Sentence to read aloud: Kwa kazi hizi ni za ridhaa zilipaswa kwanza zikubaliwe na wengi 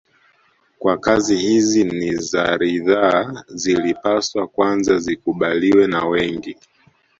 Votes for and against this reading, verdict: 1, 2, rejected